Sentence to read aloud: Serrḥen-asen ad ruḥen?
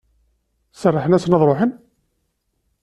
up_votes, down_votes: 2, 0